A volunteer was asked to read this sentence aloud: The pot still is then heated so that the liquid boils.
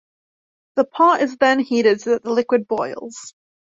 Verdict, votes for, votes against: rejected, 1, 2